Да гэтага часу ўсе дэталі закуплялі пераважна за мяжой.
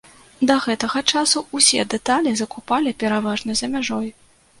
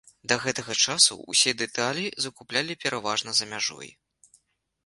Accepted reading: second